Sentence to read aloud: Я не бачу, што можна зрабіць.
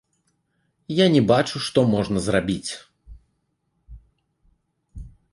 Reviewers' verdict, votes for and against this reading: accepted, 2, 1